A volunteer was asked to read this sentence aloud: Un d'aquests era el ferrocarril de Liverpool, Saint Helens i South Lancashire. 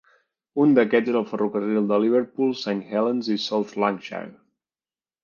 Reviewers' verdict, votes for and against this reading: rejected, 0, 2